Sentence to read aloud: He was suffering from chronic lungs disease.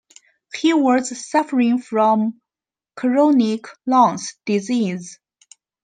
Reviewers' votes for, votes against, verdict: 1, 2, rejected